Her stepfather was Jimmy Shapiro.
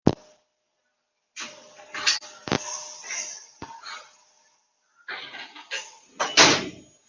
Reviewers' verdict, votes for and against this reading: rejected, 0, 2